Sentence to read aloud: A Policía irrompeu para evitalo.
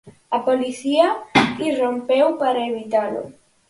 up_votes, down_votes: 4, 0